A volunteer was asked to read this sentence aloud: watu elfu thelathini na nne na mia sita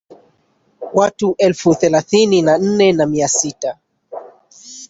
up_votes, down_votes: 1, 2